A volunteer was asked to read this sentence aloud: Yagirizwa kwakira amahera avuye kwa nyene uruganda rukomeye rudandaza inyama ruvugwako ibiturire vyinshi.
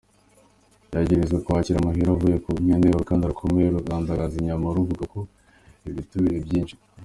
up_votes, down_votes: 0, 2